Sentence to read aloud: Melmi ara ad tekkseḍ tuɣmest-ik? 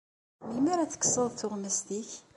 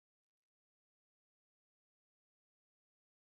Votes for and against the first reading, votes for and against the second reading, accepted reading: 2, 1, 0, 2, first